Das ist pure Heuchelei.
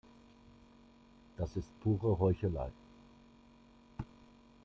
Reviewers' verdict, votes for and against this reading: accepted, 2, 1